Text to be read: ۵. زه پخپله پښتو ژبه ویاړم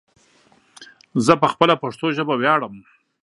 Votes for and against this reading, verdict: 0, 2, rejected